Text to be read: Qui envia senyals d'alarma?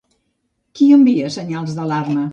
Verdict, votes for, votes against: rejected, 1, 2